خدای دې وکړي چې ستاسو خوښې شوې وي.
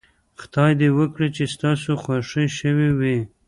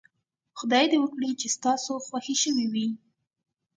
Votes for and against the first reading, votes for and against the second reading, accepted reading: 1, 2, 2, 0, second